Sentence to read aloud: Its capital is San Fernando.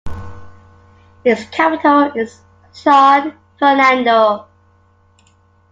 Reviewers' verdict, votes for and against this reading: accepted, 2, 1